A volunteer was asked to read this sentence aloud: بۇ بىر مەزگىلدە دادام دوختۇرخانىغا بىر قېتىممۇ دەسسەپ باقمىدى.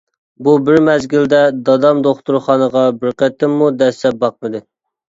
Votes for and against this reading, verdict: 2, 1, accepted